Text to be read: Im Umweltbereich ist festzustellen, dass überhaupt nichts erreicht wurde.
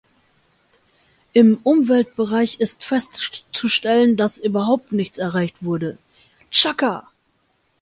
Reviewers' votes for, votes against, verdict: 0, 2, rejected